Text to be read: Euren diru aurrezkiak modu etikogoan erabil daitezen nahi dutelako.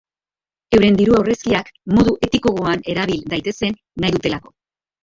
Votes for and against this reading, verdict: 0, 2, rejected